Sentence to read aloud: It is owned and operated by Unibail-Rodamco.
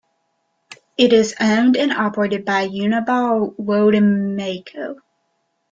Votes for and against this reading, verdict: 1, 2, rejected